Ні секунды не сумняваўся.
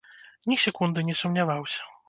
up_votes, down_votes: 2, 0